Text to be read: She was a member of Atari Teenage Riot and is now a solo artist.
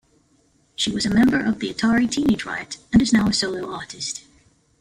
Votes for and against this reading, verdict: 1, 2, rejected